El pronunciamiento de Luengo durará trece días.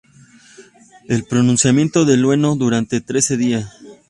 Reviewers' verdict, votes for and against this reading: rejected, 0, 2